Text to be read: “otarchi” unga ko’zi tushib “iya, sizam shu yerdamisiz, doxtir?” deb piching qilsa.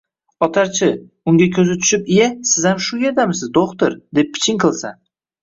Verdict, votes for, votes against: rejected, 1, 2